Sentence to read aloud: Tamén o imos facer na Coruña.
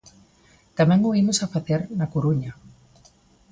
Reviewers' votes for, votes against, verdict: 0, 2, rejected